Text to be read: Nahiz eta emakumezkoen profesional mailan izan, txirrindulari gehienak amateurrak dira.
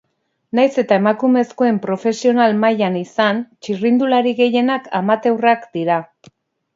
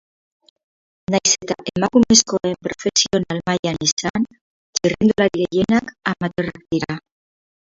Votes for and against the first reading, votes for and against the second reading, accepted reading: 2, 0, 0, 4, first